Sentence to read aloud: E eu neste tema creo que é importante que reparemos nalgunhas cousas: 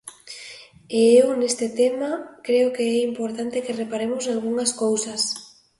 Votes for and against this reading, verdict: 2, 0, accepted